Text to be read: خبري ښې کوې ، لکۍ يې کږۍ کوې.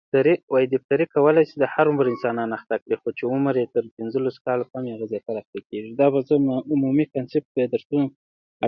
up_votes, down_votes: 0, 2